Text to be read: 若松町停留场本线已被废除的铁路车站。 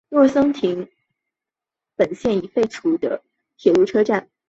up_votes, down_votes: 0, 2